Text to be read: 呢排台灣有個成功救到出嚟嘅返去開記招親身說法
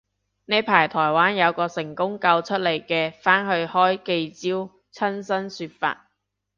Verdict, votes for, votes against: rejected, 1, 2